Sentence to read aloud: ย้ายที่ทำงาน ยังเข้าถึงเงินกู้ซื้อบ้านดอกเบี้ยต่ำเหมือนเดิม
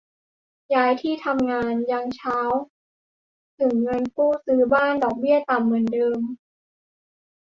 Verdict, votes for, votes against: rejected, 0, 2